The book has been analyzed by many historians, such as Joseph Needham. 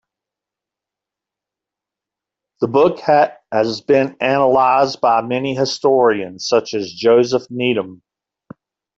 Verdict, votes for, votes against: accepted, 2, 0